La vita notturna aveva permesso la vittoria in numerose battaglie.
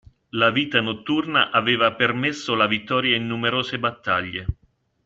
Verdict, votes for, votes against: accepted, 3, 0